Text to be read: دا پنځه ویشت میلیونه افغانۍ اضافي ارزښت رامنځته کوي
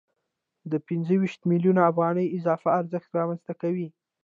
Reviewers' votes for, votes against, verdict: 0, 2, rejected